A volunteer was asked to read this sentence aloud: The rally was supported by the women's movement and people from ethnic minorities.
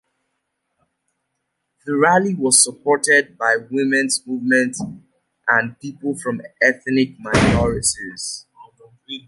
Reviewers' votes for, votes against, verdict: 2, 1, accepted